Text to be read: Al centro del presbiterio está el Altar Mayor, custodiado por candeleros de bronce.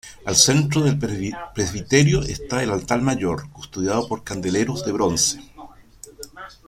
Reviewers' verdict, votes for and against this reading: rejected, 1, 2